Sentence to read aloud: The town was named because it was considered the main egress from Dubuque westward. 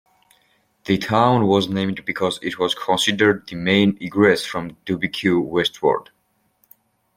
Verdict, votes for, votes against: rejected, 1, 2